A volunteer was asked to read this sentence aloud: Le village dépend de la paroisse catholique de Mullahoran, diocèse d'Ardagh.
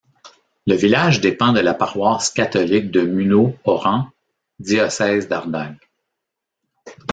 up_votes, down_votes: 0, 2